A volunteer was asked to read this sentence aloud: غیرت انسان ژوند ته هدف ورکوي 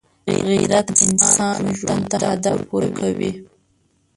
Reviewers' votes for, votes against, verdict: 1, 3, rejected